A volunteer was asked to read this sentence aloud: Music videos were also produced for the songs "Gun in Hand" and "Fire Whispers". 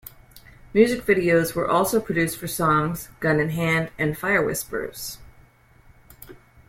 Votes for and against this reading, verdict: 1, 2, rejected